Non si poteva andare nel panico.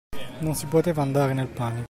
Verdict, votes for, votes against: rejected, 0, 2